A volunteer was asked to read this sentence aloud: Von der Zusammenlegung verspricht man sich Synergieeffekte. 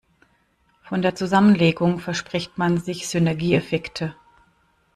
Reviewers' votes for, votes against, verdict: 1, 2, rejected